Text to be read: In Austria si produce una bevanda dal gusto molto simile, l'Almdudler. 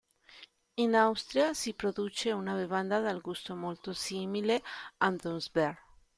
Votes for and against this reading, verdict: 0, 2, rejected